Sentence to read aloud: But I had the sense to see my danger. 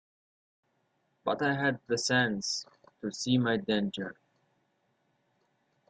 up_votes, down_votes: 2, 0